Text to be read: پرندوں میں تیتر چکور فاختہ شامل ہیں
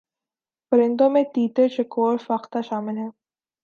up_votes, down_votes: 3, 0